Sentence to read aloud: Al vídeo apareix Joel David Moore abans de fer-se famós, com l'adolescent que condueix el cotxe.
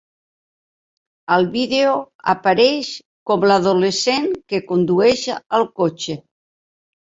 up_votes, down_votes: 0, 2